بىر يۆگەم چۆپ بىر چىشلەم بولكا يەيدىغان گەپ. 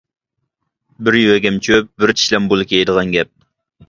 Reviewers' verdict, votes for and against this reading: rejected, 1, 2